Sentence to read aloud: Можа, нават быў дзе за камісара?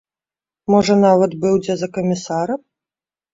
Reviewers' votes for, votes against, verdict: 2, 0, accepted